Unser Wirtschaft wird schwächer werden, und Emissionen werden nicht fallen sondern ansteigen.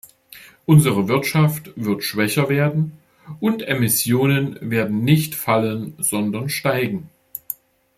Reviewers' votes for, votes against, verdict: 0, 2, rejected